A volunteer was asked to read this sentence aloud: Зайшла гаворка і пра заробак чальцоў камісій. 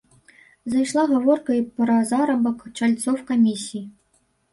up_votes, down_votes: 0, 2